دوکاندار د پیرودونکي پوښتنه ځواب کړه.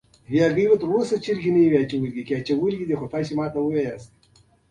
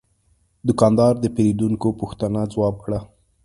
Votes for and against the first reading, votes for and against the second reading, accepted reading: 0, 2, 2, 0, second